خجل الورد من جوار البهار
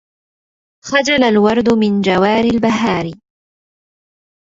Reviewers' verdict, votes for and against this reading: rejected, 1, 2